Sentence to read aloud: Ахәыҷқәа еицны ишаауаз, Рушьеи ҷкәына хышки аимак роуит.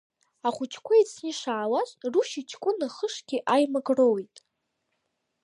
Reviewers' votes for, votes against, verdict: 0, 2, rejected